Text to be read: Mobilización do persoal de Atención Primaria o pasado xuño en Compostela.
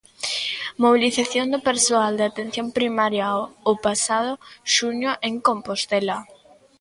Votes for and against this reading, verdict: 2, 1, accepted